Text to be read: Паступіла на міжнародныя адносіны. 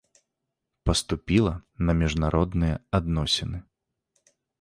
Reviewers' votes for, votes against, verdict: 2, 0, accepted